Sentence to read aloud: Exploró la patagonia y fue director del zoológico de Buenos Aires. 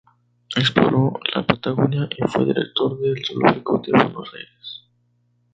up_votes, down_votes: 2, 0